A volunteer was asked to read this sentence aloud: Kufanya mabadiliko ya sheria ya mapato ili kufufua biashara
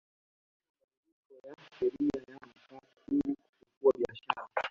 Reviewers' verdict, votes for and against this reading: rejected, 0, 2